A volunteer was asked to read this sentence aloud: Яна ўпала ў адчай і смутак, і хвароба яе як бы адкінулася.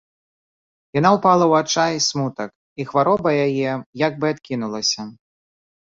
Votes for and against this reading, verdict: 2, 0, accepted